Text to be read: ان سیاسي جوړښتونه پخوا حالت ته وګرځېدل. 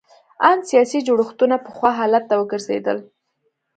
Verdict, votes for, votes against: accepted, 2, 0